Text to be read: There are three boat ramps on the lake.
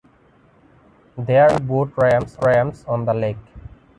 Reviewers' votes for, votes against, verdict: 1, 3, rejected